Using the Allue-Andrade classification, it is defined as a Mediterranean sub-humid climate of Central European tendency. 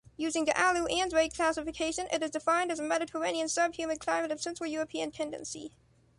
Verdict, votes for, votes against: accepted, 2, 1